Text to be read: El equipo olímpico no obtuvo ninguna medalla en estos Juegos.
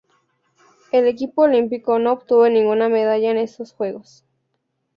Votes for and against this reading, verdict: 4, 0, accepted